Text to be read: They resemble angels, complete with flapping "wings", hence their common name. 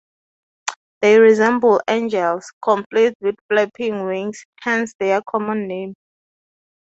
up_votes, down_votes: 2, 0